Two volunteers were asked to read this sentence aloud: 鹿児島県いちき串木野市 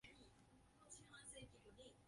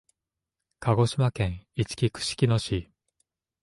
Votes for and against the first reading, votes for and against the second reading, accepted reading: 2, 12, 2, 0, second